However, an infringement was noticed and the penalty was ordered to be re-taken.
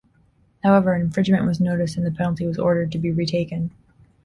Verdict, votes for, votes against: accepted, 2, 0